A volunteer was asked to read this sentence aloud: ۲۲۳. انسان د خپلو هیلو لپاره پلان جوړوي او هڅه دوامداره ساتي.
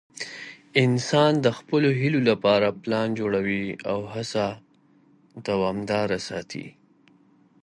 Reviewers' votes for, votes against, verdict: 0, 2, rejected